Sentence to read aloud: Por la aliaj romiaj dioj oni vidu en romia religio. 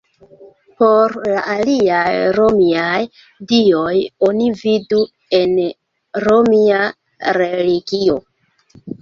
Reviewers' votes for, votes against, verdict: 2, 0, accepted